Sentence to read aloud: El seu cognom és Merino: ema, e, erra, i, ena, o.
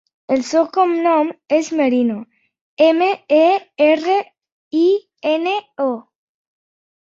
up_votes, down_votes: 1, 2